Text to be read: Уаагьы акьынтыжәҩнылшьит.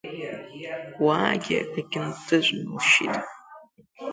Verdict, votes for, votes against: rejected, 0, 2